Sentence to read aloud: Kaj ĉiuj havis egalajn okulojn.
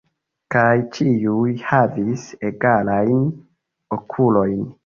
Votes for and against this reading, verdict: 2, 1, accepted